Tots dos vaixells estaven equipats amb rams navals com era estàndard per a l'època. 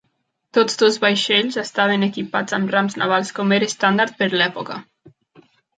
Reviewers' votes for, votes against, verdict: 0, 2, rejected